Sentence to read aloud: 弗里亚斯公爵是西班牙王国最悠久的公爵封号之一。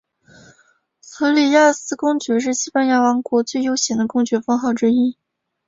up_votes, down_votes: 6, 0